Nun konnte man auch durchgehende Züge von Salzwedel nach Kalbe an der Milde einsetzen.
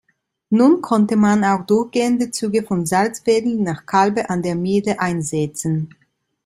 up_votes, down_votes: 1, 2